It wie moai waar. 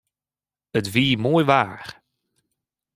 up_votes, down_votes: 0, 2